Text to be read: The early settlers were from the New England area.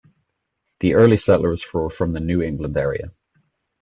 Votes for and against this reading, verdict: 1, 2, rejected